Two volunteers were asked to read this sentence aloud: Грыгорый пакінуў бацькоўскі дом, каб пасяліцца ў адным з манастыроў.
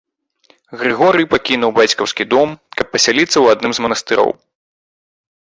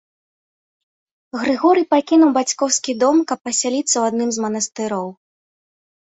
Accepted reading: second